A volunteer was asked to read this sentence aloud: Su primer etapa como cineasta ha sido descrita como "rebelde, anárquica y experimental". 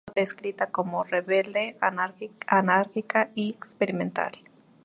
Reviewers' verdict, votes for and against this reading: rejected, 0, 2